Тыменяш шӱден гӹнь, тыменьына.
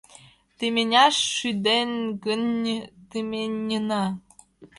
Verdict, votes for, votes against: rejected, 0, 2